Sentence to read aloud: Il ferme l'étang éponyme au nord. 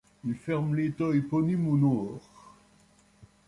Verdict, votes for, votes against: accepted, 2, 1